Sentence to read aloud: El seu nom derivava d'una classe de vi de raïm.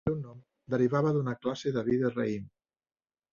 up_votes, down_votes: 0, 2